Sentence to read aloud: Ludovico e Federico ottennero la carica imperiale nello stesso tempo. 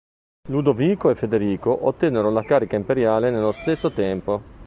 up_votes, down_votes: 2, 0